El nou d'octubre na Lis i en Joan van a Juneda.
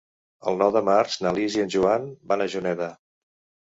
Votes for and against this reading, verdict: 0, 2, rejected